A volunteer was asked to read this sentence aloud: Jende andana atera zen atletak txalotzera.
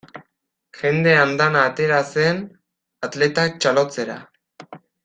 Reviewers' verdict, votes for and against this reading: rejected, 1, 2